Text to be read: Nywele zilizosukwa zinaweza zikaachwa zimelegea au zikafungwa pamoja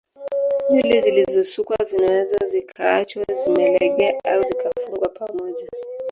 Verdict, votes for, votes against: rejected, 1, 2